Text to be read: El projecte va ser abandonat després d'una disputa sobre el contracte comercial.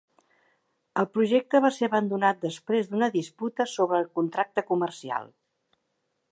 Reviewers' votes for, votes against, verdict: 3, 0, accepted